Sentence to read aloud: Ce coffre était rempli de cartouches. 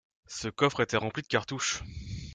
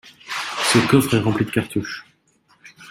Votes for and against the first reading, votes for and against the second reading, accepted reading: 2, 0, 0, 2, first